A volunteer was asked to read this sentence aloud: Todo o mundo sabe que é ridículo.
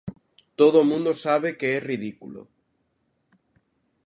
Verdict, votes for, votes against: accepted, 2, 0